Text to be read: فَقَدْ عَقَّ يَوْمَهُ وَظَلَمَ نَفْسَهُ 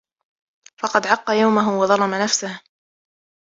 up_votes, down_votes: 0, 2